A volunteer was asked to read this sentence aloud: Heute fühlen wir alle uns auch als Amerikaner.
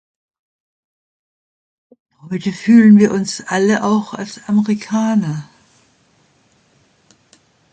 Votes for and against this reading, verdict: 0, 2, rejected